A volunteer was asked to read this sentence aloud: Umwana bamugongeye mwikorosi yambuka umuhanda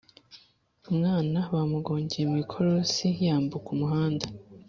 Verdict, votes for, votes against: accepted, 2, 0